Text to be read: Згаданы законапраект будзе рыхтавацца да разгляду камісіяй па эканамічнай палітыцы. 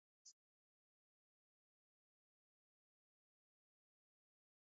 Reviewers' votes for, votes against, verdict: 0, 2, rejected